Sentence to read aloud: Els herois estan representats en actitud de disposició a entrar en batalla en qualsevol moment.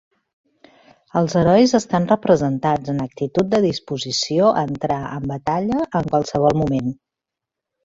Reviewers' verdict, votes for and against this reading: accepted, 3, 0